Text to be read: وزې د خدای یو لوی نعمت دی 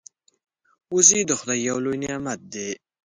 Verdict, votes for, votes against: accepted, 2, 0